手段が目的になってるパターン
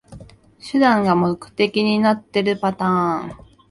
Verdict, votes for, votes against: accepted, 2, 0